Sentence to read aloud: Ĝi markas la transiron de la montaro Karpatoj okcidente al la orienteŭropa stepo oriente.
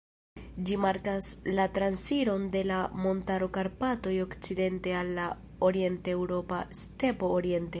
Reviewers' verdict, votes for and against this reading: rejected, 1, 2